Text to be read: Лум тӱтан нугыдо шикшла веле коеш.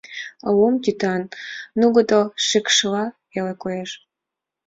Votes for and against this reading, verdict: 4, 1, accepted